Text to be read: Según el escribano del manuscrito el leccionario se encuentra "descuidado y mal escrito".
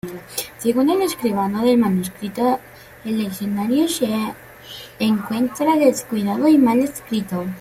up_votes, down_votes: 1, 2